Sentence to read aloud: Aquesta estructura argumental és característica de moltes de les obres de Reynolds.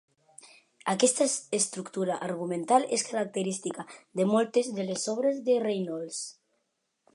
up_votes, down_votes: 0, 2